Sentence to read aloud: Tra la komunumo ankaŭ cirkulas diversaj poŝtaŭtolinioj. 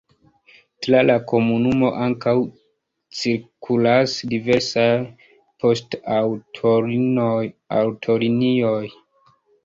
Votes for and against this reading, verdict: 1, 3, rejected